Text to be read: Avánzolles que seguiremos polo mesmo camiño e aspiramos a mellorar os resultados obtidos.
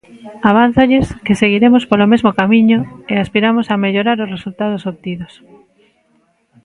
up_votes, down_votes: 2, 1